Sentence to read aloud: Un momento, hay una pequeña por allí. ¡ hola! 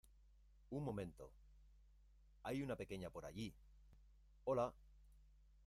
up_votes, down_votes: 1, 2